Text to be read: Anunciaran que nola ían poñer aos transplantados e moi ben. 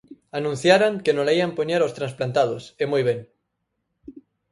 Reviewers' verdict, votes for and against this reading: accepted, 6, 0